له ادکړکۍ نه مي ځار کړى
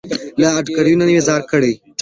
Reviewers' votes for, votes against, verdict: 2, 0, accepted